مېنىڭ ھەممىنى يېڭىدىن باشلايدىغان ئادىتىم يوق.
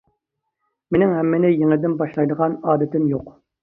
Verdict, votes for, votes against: accepted, 2, 0